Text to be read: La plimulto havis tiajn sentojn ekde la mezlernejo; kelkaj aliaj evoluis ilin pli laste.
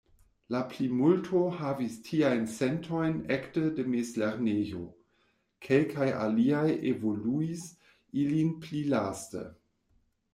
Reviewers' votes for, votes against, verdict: 0, 2, rejected